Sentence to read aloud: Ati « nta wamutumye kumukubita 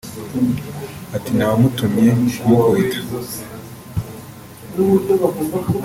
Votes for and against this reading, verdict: 2, 1, accepted